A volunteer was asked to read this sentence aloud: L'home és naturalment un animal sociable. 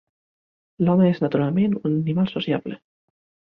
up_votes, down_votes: 0, 2